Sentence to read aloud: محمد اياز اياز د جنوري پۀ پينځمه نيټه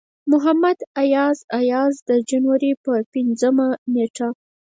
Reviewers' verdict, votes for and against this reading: rejected, 0, 4